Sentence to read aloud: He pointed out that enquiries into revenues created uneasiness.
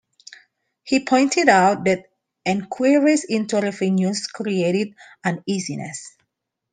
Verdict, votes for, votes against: rejected, 0, 2